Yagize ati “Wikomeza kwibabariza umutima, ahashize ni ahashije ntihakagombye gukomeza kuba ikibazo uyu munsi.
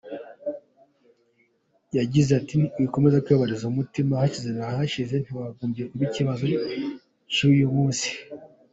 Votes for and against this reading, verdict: 2, 0, accepted